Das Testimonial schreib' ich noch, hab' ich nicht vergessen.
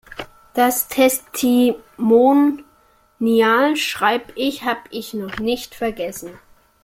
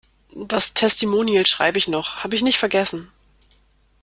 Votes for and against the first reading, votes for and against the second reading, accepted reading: 0, 2, 2, 0, second